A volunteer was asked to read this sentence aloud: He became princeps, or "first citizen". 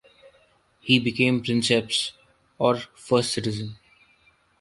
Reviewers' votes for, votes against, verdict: 2, 0, accepted